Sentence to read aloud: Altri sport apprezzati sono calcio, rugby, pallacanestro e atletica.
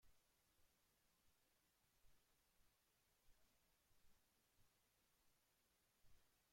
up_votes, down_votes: 0, 3